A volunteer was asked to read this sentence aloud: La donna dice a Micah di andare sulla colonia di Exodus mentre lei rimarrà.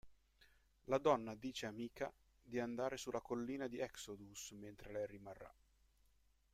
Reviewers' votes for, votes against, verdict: 0, 2, rejected